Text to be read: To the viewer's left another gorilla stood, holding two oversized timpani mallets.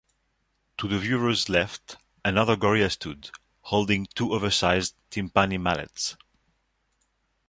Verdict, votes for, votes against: accepted, 2, 0